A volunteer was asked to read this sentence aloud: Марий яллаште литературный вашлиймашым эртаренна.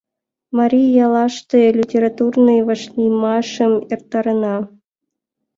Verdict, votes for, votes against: accepted, 2, 1